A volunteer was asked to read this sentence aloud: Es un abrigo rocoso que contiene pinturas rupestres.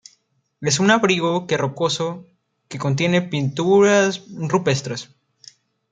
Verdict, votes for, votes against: rejected, 0, 2